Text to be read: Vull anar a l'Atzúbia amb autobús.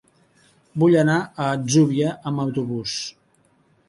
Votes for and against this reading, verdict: 1, 2, rejected